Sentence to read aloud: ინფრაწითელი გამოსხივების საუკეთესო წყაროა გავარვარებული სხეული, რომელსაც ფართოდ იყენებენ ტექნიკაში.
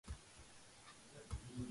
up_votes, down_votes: 0, 2